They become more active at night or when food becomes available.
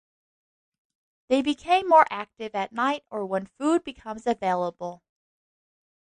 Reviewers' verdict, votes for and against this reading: rejected, 1, 2